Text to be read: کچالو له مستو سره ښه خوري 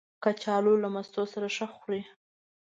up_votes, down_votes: 3, 0